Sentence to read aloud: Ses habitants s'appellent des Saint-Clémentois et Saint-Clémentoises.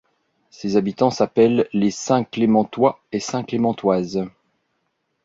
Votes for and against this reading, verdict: 1, 2, rejected